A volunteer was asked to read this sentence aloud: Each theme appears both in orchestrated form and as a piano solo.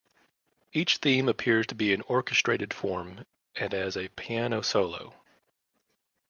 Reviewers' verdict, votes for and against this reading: rejected, 0, 2